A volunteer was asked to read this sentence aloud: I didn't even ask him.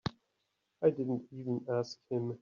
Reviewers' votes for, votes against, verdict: 2, 1, accepted